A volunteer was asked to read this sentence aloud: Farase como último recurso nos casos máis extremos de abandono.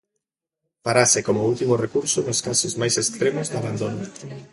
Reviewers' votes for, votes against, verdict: 3, 0, accepted